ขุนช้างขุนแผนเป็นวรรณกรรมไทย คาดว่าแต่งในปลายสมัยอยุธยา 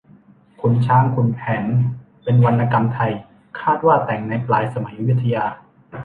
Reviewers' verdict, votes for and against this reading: accepted, 2, 0